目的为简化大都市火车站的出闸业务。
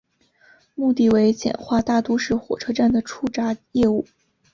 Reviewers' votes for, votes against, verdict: 3, 0, accepted